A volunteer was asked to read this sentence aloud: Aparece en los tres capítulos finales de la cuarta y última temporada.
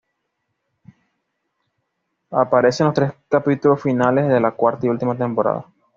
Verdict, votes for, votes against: rejected, 0, 2